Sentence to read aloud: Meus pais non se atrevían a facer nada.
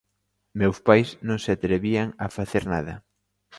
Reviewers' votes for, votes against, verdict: 2, 0, accepted